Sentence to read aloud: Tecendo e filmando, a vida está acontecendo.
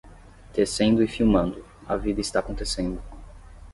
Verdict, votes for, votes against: accepted, 10, 0